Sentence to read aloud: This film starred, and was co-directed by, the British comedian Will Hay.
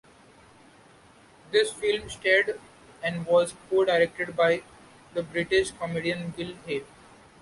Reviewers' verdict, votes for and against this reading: accepted, 2, 0